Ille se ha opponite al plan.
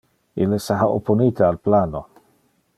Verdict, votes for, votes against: rejected, 1, 2